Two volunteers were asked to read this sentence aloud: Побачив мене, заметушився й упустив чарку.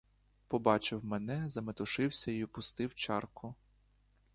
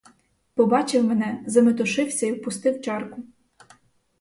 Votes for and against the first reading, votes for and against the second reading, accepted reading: 2, 1, 2, 2, first